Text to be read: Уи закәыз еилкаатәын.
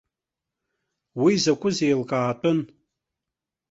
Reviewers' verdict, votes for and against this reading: rejected, 0, 2